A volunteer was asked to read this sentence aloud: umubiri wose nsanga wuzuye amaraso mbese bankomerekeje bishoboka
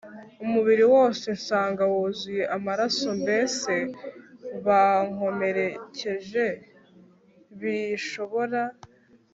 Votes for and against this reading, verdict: 1, 2, rejected